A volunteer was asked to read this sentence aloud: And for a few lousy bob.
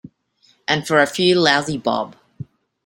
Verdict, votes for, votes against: accepted, 2, 0